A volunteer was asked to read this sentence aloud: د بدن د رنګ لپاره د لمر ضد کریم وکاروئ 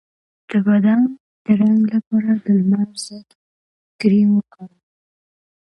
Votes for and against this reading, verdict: 2, 1, accepted